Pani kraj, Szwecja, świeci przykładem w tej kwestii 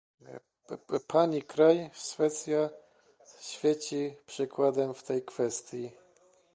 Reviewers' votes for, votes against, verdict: 1, 2, rejected